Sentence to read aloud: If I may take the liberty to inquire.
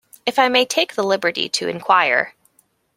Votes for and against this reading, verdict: 2, 0, accepted